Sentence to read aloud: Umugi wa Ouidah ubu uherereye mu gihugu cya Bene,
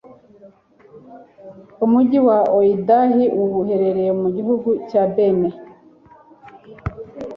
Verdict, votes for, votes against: accepted, 2, 0